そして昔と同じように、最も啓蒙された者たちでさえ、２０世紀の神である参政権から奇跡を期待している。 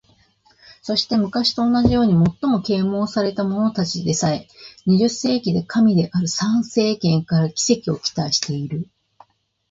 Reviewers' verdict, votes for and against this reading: rejected, 0, 2